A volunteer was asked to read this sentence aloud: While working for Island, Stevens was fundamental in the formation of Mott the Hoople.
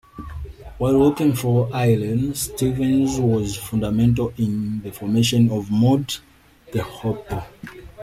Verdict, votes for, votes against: accepted, 2, 1